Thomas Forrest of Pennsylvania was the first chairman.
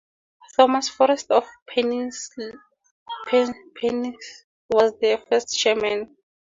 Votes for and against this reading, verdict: 0, 4, rejected